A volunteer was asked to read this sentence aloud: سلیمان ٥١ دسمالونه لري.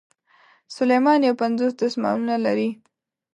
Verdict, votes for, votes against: rejected, 0, 2